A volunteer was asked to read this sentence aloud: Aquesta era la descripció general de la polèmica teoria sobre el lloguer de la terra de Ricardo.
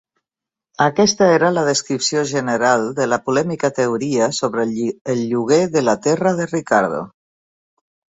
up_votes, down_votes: 0, 2